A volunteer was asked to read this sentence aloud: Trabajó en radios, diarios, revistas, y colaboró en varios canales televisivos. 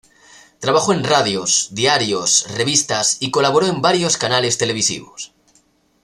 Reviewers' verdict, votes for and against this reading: rejected, 1, 2